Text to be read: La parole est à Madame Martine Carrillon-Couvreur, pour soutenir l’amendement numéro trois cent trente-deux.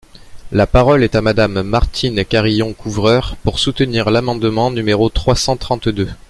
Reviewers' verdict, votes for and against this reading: accepted, 2, 0